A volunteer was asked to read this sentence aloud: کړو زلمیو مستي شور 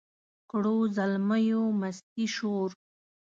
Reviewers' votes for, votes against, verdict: 2, 0, accepted